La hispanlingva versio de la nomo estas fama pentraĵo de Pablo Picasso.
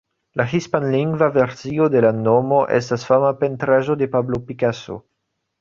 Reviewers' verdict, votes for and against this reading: accepted, 2, 0